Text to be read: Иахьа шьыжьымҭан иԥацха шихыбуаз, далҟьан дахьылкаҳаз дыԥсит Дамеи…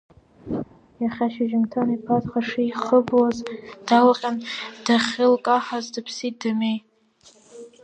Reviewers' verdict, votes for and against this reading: accepted, 2, 1